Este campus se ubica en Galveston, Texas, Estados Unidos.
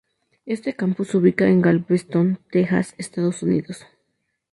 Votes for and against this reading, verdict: 2, 2, rejected